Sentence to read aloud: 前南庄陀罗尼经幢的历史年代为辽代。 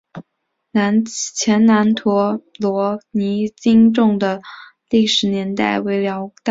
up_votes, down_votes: 3, 2